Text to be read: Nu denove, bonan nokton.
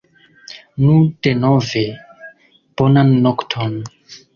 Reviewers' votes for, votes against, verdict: 2, 1, accepted